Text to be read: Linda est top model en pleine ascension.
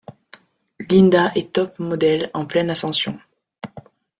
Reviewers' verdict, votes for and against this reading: accepted, 2, 0